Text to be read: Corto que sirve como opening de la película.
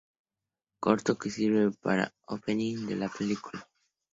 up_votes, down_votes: 0, 2